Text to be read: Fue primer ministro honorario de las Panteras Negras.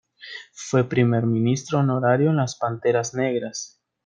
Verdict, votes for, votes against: rejected, 1, 2